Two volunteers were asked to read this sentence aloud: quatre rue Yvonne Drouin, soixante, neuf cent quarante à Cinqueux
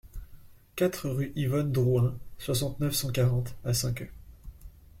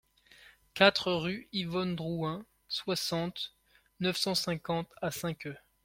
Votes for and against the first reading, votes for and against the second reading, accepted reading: 2, 0, 0, 2, first